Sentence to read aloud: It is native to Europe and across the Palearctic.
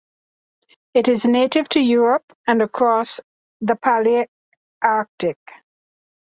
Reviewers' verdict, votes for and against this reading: accepted, 2, 1